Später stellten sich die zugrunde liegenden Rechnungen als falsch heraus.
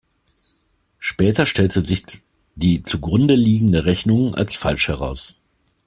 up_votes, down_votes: 1, 2